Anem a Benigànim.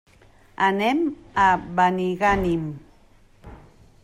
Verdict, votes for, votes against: accepted, 3, 0